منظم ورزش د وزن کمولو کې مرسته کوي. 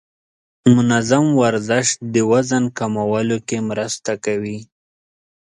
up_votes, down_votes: 3, 0